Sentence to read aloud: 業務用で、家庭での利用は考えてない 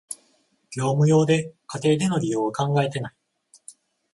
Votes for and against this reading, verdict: 14, 0, accepted